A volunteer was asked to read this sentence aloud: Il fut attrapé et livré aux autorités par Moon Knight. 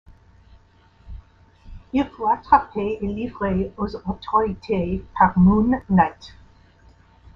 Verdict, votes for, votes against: rejected, 1, 2